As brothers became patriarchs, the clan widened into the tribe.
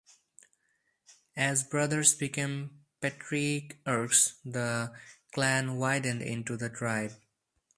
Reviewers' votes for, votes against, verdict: 4, 0, accepted